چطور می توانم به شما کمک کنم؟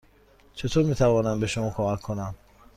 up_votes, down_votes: 2, 0